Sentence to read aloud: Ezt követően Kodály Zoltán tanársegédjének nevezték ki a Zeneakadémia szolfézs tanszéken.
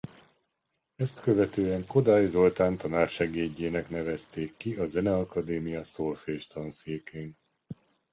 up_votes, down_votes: 1, 2